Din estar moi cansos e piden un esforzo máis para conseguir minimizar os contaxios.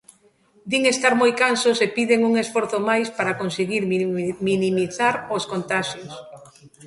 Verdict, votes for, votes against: rejected, 0, 2